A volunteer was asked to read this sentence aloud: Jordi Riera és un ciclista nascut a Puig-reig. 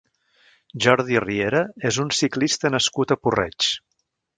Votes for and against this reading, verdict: 1, 2, rejected